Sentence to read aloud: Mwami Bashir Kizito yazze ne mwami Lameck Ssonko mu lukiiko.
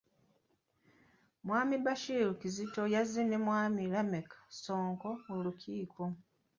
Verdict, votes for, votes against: rejected, 1, 2